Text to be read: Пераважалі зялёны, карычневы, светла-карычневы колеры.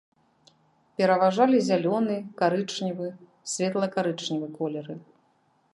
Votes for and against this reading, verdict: 2, 0, accepted